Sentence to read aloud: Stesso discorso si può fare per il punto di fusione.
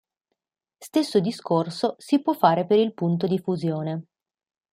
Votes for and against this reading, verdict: 2, 0, accepted